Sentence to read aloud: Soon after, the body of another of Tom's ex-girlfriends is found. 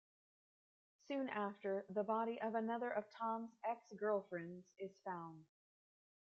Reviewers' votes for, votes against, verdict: 1, 2, rejected